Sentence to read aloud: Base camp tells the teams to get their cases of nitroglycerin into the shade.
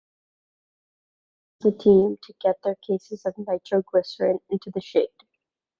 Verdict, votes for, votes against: rejected, 0, 2